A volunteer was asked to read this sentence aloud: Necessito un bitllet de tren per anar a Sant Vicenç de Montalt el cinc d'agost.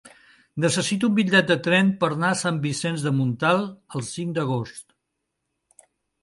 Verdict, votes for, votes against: rejected, 0, 2